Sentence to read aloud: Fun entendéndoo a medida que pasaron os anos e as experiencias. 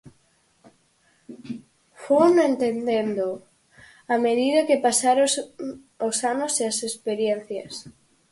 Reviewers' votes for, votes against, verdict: 0, 4, rejected